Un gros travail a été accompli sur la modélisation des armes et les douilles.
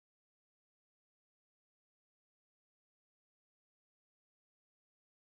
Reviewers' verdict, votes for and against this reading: rejected, 2, 4